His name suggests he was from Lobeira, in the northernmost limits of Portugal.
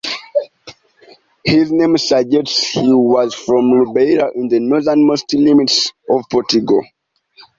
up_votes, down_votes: 0, 2